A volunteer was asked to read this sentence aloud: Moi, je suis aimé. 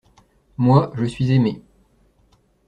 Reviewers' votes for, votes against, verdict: 2, 0, accepted